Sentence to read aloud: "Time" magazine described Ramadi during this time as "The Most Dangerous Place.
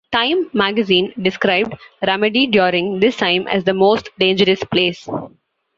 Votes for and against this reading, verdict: 2, 0, accepted